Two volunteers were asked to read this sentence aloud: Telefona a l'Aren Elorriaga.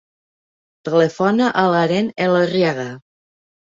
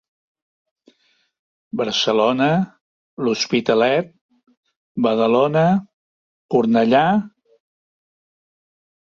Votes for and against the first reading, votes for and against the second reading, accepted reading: 2, 1, 0, 2, first